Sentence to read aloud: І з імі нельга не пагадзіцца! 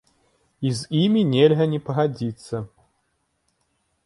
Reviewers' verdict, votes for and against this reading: accepted, 2, 0